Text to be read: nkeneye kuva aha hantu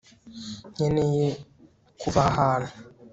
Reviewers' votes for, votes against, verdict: 2, 0, accepted